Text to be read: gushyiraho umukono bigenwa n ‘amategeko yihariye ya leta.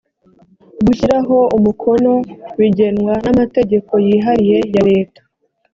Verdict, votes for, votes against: accepted, 2, 0